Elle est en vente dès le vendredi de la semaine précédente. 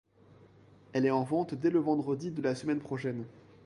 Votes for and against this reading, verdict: 1, 2, rejected